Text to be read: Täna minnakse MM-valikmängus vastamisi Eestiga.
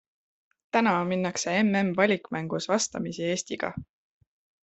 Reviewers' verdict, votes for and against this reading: accepted, 2, 0